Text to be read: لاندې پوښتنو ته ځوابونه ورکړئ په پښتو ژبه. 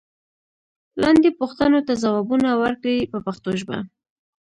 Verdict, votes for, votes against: rejected, 1, 2